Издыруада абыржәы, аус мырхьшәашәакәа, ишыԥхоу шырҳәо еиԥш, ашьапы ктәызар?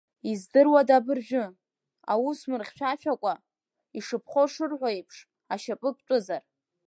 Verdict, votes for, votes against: rejected, 1, 2